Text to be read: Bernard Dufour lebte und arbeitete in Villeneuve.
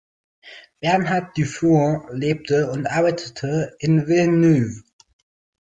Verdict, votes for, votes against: accepted, 2, 0